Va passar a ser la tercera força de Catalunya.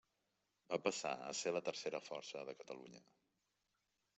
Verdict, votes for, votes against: accepted, 3, 0